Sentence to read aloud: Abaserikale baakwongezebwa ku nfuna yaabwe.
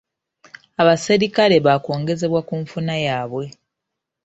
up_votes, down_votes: 2, 1